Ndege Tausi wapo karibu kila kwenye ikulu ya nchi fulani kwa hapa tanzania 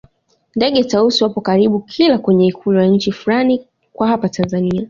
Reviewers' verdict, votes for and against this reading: accepted, 2, 0